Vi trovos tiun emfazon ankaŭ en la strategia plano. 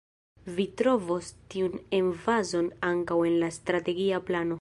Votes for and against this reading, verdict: 1, 2, rejected